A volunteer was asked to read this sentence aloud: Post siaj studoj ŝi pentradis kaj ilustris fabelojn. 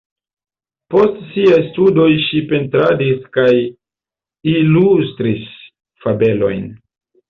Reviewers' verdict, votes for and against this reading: accepted, 2, 0